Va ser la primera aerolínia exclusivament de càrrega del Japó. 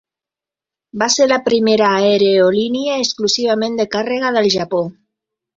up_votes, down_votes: 3, 1